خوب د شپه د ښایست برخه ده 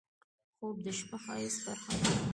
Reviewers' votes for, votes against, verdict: 2, 0, accepted